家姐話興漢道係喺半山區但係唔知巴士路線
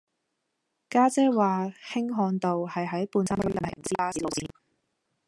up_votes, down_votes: 0, 2